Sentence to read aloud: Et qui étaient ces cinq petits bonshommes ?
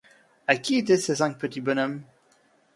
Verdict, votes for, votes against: rejected, 1, 2